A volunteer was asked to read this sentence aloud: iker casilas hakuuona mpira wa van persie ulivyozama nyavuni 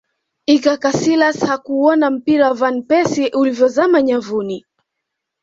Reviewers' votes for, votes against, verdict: 2, 1, accepted